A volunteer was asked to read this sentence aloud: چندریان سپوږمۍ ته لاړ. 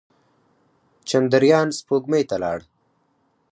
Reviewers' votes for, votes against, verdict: 4, 0, accepted